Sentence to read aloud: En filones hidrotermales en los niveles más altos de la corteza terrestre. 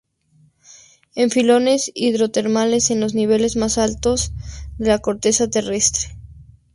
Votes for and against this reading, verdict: 2, 0, accepted